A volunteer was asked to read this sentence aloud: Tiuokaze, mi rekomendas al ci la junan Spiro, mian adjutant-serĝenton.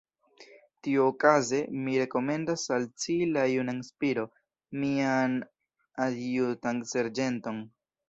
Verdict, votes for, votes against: rejected, 1, 2